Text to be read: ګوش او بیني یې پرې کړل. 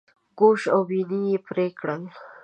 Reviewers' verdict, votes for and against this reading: accepted, 2, 0